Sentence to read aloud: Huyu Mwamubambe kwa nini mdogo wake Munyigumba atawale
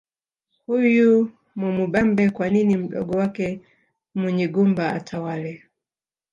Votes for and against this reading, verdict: 0, 2, rejected